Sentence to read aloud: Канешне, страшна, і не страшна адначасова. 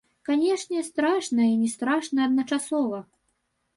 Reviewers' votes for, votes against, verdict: 0, 2, rejected